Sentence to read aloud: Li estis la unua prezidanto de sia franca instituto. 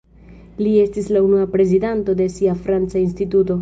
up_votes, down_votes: 2, 1